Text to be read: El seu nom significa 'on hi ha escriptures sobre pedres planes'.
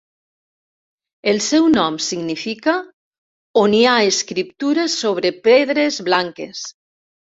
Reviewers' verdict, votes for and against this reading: rejected, 0, 2